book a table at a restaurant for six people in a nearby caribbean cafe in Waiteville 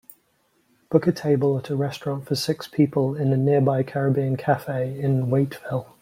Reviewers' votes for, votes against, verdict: 2, 0, accepted